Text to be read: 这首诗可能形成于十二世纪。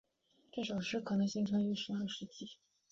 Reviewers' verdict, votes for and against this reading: accepted, 3, 0